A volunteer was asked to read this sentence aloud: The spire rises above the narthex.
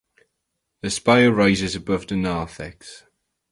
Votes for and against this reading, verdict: 4, 0, accepted